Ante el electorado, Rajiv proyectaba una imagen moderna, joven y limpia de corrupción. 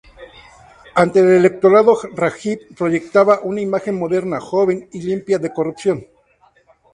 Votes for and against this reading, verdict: 2, 2, rejected